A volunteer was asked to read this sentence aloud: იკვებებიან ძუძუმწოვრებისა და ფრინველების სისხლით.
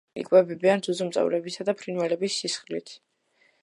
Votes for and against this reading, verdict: 2, 0, accepted